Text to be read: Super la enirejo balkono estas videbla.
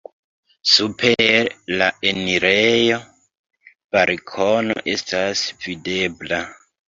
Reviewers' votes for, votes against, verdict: 2, 1, accepted